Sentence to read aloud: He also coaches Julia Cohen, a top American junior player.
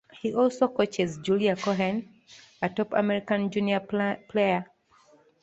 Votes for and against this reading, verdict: 0, 2, rejected